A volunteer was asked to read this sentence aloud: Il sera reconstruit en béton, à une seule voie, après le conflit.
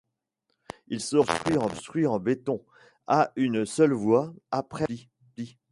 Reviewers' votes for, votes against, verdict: 0, 2, rejected